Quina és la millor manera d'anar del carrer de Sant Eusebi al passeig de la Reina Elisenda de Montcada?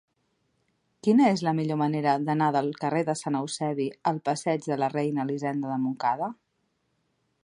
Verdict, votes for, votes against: accepted, 2, 0